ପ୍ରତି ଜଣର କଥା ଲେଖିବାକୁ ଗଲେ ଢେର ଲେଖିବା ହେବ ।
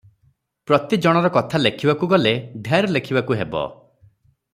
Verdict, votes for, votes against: rejected, 0, 3